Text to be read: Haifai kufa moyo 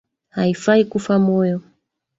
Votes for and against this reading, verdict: 2, 0, accepted